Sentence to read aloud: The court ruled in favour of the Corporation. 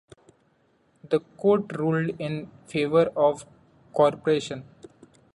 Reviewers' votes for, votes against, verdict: 1, 2, rejected